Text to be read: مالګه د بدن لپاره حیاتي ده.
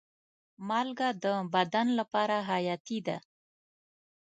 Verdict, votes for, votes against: accepted, 2, 0